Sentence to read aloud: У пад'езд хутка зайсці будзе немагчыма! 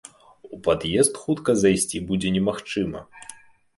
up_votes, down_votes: 2, 0